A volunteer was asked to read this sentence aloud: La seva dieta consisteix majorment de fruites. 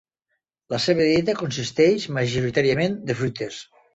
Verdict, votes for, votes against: rejected, 0, 2